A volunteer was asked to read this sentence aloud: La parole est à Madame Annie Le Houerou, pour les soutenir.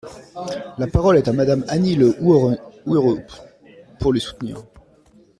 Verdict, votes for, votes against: rejected, 0, 2